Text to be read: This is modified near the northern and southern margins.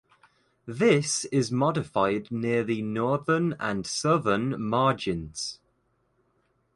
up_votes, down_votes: 2, 0